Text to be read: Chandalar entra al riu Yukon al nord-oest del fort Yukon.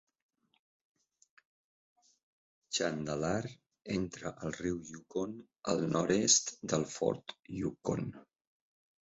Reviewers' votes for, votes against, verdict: 0, 3, rejected